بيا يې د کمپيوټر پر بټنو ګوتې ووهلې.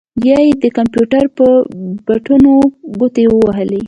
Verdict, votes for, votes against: accepted, 2, 0